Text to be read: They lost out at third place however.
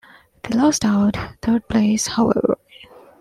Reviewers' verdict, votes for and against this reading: rejected, 0, 2